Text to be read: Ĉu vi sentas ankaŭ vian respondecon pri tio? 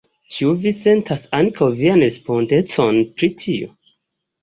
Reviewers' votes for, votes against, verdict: 2, 0, accepted